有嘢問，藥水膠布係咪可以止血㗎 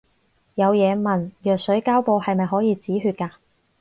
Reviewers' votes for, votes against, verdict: 4, 0, accepted